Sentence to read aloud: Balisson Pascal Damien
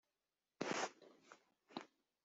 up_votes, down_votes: 0, 2